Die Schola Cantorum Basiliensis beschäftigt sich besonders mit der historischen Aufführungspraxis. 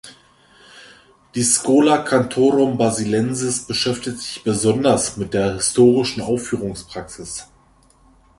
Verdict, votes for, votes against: accepted, 2, 1